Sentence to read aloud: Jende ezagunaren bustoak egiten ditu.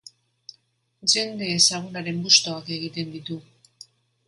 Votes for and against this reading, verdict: 2, 0, accepted